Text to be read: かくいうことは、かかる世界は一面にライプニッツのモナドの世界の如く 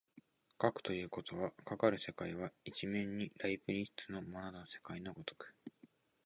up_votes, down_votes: 0, 2